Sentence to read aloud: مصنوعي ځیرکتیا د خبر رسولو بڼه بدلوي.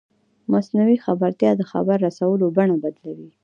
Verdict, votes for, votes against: rejected, 1, 2